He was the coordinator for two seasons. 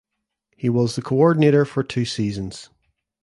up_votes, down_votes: 2, 0